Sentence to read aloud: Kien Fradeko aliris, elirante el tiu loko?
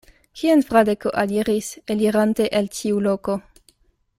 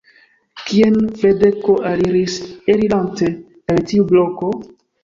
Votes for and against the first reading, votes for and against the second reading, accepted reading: 2, 0, 1, 2, first